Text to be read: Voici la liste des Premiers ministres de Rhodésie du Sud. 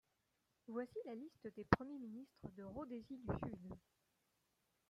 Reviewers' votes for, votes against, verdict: 1, 2, rejected